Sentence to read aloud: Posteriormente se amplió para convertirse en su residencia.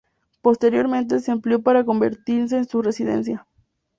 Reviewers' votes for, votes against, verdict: 2, 0, accepted